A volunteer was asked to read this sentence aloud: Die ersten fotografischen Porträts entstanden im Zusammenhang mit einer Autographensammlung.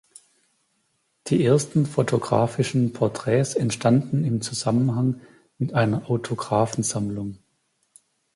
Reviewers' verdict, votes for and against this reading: accepted, 2, 0